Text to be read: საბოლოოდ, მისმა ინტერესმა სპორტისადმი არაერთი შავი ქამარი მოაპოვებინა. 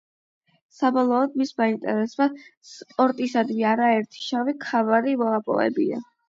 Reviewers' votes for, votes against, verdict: 8, 0, accepted